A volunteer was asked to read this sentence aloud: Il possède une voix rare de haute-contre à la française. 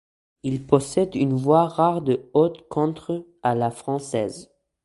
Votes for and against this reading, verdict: 2, 1, accepted